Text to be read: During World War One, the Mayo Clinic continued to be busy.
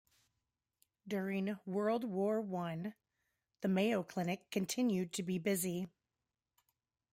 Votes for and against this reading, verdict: 2, 0, accepted